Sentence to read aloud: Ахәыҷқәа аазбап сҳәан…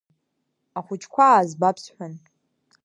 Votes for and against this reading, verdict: 2, 0, accepted